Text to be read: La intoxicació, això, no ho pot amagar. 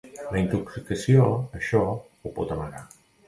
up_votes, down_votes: 0, 2